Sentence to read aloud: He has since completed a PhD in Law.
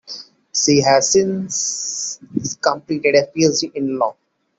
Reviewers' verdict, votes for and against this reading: accepted, 2, 1